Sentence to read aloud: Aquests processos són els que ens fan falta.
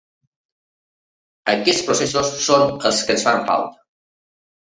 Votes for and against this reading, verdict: 2, 0, accepted